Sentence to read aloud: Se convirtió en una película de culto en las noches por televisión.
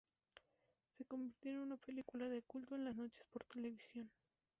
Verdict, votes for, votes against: rejected, 0, 2